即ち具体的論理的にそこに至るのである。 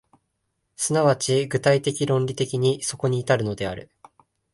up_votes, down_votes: 2, 0